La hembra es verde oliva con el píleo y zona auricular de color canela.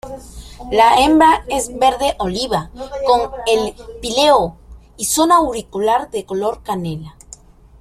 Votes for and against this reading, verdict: 0, 2, rejected